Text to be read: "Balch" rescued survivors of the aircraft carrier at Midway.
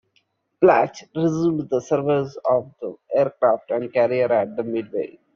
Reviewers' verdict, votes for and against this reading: rejected, 0, 2